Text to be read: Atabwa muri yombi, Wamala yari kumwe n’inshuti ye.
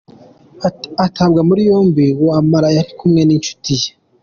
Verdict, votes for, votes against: accepted, 2, 1